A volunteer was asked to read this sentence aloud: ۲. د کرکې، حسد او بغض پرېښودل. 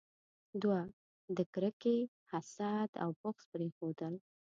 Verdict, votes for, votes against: rejected, 0, 2